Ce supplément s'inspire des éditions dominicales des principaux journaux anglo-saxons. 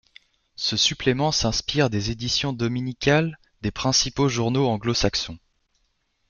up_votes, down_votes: 2, 0